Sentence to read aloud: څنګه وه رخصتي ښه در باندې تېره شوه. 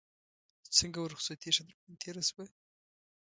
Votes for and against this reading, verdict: 0, 2, rejected